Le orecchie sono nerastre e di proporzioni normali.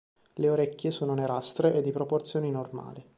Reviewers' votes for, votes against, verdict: 2, 0, accepted